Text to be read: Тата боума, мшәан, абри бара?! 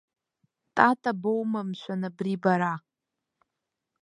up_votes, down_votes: 2, 0